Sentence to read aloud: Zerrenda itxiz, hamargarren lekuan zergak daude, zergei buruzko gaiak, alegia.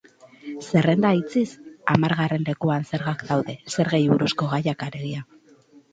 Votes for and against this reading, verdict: 4, 0, accepted